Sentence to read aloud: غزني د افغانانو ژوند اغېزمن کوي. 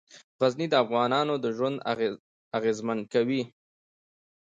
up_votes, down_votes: 2, 0